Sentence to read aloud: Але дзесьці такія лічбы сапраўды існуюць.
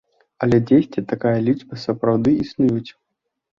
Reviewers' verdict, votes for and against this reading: rejected, 0, 2